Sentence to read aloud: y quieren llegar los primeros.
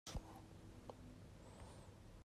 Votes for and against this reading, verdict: 0, 2, rejected